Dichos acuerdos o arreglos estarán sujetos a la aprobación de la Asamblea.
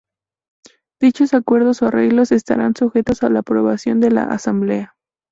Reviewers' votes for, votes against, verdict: 2, 0, accepted